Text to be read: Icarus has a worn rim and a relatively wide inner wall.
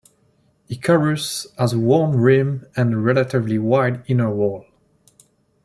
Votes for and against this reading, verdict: 0, 2, rejected